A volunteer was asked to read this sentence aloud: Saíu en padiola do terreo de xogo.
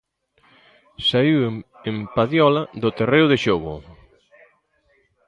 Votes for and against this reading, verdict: 0, 2, rejected